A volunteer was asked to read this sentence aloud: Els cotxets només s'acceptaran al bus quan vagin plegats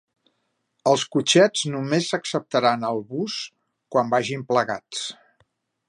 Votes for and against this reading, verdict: 3, 0, accepted